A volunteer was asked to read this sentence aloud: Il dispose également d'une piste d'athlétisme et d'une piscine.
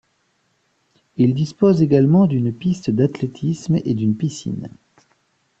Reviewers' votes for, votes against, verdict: 2, 0, accepted